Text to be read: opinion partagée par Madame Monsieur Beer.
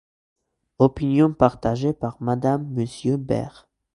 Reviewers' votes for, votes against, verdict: 1, 2, rejected